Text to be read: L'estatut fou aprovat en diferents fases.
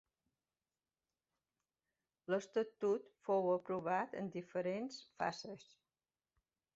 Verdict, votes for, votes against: accepted, 2, 1